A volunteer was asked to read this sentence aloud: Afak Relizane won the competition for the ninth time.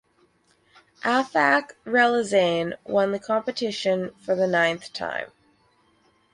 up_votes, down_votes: 4, 0